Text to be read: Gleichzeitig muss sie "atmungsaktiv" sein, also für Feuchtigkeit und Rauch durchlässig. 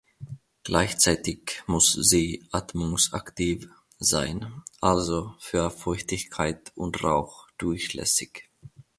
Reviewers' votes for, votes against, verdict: 0, 2, rejected